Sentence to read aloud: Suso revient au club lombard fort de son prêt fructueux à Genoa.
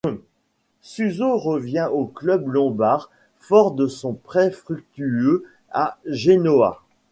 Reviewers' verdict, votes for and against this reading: rejected, 0, 2